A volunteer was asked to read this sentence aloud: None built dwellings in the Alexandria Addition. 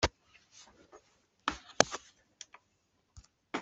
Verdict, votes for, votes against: rejected, 0, 2